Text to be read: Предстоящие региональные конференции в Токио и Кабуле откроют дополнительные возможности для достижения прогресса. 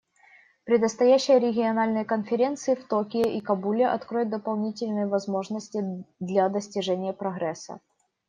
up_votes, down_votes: 0, 2